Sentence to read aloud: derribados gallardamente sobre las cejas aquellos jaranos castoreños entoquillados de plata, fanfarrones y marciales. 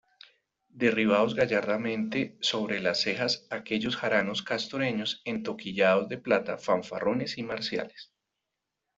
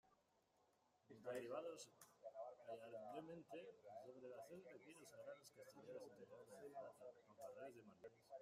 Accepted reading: first